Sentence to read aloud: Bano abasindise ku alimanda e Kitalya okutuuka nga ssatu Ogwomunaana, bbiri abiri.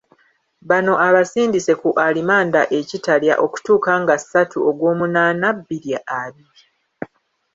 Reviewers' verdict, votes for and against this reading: rejected, 1, 2